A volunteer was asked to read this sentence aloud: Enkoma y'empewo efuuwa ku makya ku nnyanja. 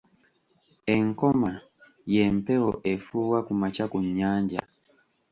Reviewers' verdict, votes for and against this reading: accepted, 2, 0